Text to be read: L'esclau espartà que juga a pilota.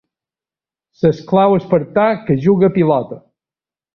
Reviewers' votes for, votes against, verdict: 2, 0, accepted